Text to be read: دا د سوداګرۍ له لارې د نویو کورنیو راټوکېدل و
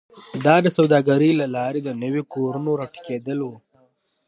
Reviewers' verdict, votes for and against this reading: accepted, 3, 0